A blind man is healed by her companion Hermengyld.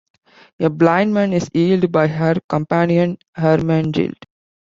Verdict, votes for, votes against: accepted, 2, 1